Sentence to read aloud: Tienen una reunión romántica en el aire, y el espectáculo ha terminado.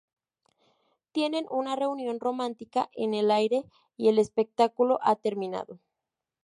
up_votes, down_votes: 2, 0